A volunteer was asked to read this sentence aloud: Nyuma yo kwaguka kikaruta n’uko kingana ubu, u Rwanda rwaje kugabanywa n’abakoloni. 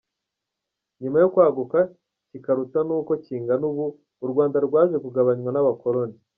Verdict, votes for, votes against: accepted, 2, 0